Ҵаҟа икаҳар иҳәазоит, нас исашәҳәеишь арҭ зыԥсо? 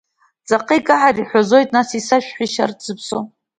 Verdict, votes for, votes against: accepted, 2, 1